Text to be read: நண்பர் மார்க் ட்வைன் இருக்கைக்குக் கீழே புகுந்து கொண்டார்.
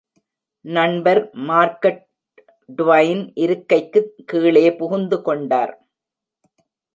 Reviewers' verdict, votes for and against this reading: rejected, 1, 2